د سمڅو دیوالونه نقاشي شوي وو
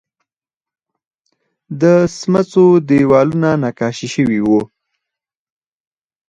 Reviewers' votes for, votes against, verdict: 4, 0, accepted